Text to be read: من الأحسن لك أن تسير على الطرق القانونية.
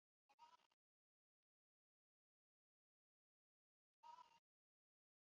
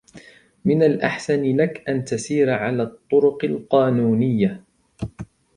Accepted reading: second